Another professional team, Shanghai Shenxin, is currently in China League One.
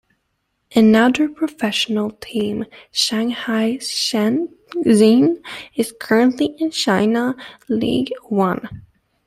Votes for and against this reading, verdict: 1, 2, rejected